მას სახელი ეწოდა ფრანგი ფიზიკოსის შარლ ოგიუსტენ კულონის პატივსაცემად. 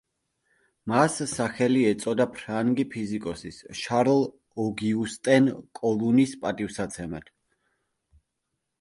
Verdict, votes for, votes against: rejected, 1, 2